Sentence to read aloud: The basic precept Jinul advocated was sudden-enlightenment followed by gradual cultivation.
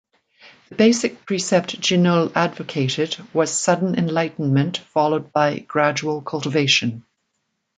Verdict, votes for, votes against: rejected, 1, 2